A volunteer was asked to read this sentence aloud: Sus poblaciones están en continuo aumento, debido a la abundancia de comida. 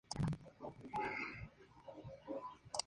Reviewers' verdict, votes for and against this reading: accepted, 2, 0